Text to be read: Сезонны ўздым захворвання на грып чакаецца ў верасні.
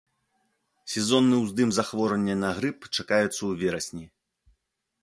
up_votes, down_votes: 2, 0